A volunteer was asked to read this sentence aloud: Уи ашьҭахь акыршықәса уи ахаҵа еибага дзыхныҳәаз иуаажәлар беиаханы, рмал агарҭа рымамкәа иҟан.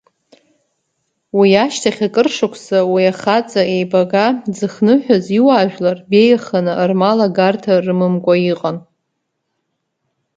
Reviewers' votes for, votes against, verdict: 2, 0, accepted